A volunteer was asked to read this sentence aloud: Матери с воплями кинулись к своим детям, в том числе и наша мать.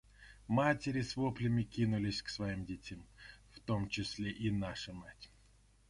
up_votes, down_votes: 0, 2